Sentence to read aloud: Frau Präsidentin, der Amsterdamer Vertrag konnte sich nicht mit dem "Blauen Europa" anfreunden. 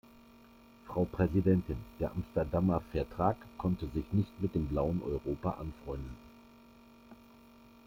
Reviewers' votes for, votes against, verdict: 0, 2, rejected